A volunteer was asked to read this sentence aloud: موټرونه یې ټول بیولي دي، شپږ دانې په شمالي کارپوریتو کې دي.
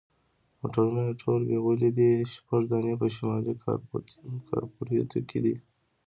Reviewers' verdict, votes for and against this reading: accepted, 2, 1